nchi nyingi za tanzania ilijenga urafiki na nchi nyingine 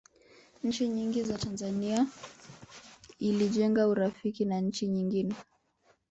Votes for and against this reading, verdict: 3, 2, accepted